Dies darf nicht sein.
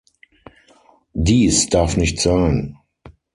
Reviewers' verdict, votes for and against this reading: accepted, 6, 0